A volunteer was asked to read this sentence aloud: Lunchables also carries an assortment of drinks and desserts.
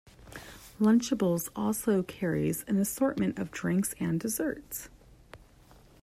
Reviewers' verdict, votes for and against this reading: accepted, 2, 0